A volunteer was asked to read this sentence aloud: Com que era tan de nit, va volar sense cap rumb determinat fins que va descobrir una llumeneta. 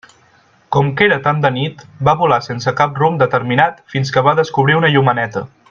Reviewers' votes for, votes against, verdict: 0, 2, rejected